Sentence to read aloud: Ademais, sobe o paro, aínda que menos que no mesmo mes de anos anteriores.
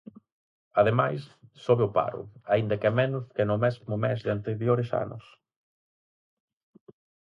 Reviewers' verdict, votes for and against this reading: rejected, 0, 4